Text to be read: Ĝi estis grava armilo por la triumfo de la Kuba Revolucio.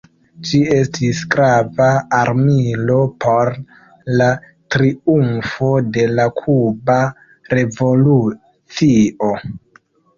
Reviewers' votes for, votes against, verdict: 0, 2, rejected